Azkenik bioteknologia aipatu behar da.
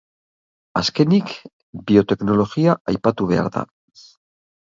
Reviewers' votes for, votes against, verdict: 0, 2, rejected